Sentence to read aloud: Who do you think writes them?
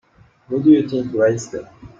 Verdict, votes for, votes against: accepted, 3, 0